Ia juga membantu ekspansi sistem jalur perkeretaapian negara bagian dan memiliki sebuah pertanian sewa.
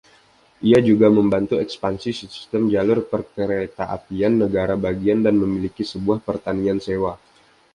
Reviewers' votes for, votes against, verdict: 2, 0, accepted